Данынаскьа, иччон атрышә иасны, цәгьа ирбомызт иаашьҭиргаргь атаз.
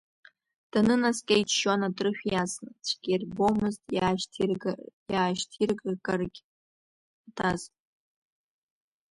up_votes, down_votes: 1, 2